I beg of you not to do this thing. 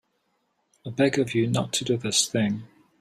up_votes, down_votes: 3, 0